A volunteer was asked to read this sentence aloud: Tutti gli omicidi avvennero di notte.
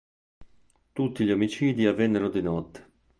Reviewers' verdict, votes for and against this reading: accepted, 3, 0